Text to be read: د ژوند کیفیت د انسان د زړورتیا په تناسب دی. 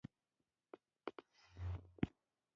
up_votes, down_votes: 1, 2